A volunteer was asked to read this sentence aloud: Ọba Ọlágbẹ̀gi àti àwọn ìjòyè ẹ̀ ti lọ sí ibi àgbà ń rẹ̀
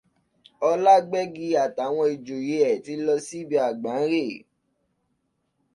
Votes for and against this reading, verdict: 0, 2, rejected